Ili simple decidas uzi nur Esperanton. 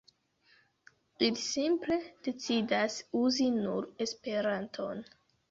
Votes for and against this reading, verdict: 0, 2, rejected